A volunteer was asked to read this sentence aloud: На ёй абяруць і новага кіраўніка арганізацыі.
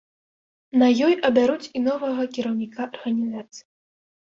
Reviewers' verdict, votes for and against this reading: accepted, 2, 0